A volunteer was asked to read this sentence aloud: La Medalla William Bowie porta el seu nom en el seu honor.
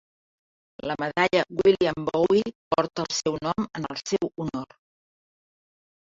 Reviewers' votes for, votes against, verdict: 3, 1, accepted